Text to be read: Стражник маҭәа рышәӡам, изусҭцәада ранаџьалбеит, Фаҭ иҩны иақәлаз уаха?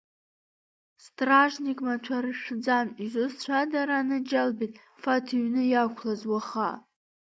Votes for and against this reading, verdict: 2, 0, accepted